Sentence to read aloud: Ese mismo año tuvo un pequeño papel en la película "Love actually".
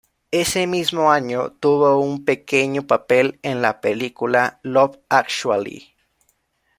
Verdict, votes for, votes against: accepted, 2, 0